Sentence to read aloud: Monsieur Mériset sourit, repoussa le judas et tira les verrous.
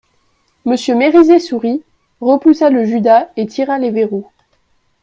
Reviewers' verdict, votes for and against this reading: accepted, 2, 0